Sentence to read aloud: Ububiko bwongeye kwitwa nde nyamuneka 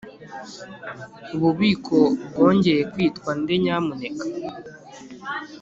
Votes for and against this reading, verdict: 4, 0, accepted